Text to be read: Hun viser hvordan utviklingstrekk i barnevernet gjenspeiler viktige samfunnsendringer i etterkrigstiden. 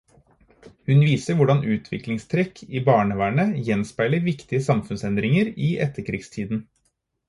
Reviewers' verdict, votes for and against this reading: accepted, 4, 0